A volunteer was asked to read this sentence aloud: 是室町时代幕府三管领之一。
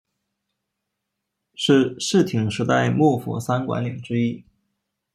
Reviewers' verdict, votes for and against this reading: rejected, 1, 2